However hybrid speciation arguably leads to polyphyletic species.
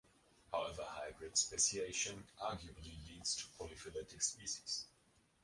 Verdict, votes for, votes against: rejected, 1, 3